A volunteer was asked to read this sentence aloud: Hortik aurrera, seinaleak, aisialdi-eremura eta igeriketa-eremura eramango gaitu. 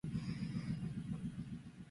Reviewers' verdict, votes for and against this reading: rejected, 0, 4